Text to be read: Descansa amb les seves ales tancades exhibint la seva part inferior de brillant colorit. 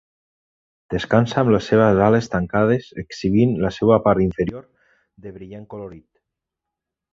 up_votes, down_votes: 2, 1